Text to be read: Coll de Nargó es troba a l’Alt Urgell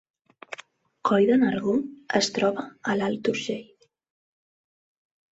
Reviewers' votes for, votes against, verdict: 3, 0, accepted